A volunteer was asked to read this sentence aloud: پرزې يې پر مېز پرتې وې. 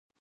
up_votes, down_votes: 1, 2